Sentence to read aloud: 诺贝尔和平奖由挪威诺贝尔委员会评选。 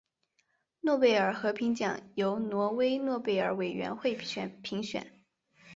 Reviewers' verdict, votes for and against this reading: rejected, 2, 4